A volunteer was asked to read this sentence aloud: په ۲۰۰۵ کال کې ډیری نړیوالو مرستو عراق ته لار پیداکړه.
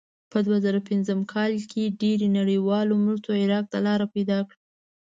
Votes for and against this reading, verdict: 0, 2, rejected